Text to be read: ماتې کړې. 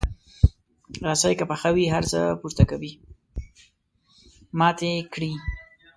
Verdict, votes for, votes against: rejected, 1, 2